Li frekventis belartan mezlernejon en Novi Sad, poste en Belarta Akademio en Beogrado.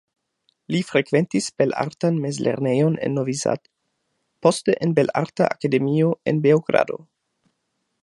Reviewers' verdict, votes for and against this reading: accepted, 2, 1